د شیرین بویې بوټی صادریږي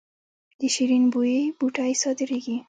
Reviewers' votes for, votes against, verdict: 1, 2, rejected